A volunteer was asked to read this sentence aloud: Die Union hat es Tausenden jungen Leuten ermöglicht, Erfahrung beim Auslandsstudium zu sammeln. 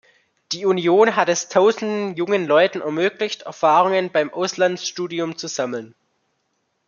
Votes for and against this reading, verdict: 1, 2, rejected